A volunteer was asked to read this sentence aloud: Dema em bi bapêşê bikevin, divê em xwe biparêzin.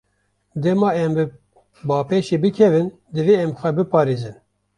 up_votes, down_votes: 2, 1